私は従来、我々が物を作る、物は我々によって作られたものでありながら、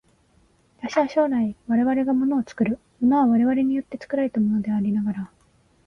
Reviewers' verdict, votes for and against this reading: accepted, 35, 15